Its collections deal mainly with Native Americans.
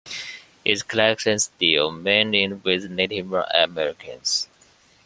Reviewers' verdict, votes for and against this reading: accepted, 2, 1